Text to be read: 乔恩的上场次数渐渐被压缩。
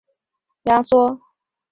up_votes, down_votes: 0, 2